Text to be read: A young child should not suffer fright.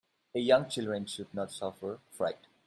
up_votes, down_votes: 0, 2